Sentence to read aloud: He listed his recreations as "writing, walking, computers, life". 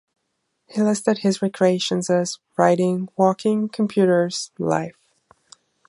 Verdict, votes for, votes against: accepted, 2, 0